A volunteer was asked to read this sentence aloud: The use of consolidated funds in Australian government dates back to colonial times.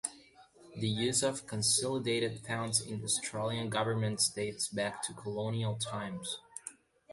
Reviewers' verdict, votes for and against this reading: accepted, 2, 0